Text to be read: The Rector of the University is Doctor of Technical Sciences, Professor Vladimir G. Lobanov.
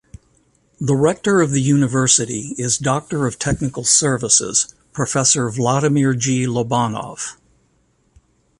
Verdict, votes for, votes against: rejected, 2, 3